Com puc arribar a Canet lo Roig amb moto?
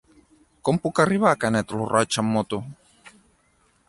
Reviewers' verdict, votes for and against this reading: accepted, 4, 0